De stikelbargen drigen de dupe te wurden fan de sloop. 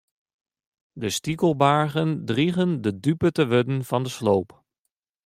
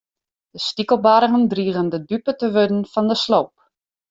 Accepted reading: first